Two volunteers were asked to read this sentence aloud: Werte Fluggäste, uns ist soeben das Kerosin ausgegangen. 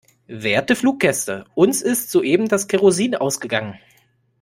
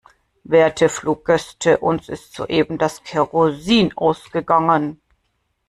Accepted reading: first